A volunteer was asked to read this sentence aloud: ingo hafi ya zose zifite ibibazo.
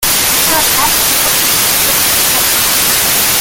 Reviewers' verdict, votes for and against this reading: rejected, 0, 3